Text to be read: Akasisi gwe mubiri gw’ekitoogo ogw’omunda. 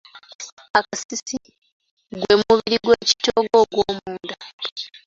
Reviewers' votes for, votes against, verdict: 2, 1, accepted